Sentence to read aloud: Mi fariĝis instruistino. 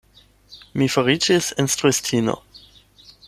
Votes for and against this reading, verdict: 8, 0, accepted